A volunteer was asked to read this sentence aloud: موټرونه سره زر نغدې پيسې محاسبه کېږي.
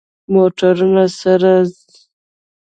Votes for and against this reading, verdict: 0, 2, rejected